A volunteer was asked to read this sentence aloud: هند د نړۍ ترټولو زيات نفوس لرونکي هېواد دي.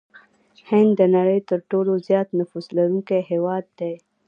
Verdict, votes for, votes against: rejected, 0, 2